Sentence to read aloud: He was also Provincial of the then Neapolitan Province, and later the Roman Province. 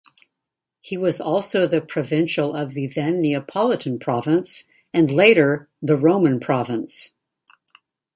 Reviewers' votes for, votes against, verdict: 1, 2, rejected